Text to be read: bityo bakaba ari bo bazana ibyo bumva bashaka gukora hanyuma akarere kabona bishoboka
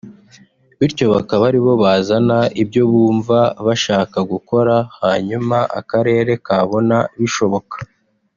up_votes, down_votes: 2, 0